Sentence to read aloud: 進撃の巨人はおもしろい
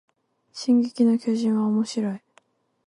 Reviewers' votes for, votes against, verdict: 4, 2, accepted